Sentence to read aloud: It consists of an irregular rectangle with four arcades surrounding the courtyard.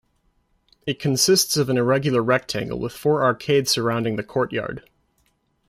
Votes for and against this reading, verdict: 2, 0, accepted